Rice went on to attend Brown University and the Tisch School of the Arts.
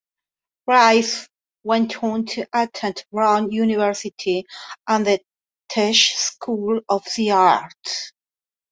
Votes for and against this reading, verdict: 2, 1, accepted